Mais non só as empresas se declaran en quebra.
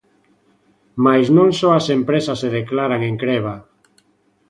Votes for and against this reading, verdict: 0, 2, rejected